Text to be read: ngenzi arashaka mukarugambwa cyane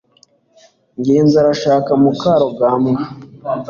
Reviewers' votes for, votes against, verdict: 1, 2, rejected